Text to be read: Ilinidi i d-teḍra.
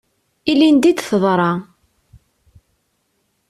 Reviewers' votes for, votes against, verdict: 2, 0, accepted